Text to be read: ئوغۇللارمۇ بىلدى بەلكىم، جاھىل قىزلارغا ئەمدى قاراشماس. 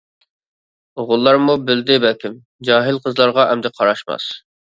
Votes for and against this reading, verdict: 3, 0, accepted